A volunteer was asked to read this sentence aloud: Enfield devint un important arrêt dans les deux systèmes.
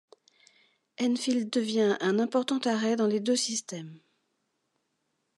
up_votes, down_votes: 1, 2